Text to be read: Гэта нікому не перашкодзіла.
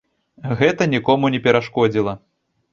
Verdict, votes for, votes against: accepted, 2, 0